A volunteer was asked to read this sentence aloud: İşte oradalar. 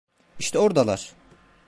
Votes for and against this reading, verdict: 0, 2, rejected